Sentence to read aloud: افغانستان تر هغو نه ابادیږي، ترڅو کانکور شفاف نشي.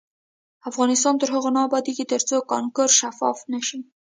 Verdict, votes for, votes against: rejected, 0, 2